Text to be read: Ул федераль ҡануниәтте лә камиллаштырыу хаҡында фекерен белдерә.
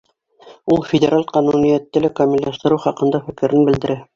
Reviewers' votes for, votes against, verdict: 0, 2, rejected